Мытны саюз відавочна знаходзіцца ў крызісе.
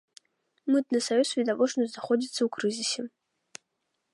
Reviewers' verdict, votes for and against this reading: accepted, 2, 0